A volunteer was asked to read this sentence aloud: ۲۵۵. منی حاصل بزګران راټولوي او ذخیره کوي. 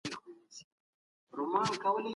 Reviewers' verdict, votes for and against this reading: rejected, 0, 2